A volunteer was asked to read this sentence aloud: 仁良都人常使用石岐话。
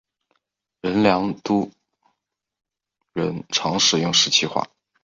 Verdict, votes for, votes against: rejected, 1, 2